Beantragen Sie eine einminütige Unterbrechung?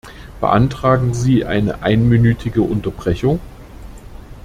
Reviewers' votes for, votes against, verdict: 2, 0, accepted